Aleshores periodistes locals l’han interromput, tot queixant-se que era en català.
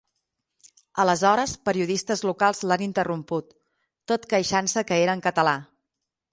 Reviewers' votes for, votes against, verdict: 6, 0, accepted